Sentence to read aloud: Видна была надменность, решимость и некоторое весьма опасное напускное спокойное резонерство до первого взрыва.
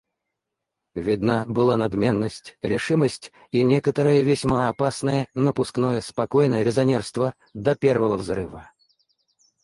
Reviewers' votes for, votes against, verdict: 2, 4, rejected